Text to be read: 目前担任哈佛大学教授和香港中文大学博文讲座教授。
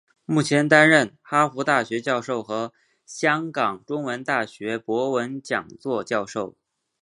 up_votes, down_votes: 3, 0